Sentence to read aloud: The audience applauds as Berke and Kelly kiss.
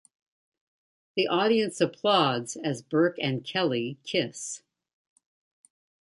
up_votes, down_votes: 2, 0